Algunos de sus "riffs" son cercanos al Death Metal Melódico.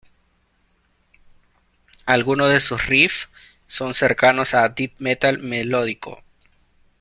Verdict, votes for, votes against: rejected, 0, 2